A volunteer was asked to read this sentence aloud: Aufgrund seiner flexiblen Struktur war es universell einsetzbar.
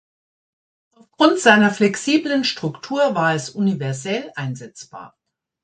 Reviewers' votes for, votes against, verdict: 1, 2, rejected